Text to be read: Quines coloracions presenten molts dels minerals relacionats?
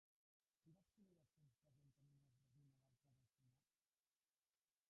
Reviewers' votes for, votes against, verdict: 0, 2, rejected